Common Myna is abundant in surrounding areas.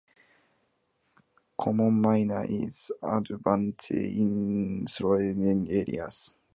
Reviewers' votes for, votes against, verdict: 0, 2, rejected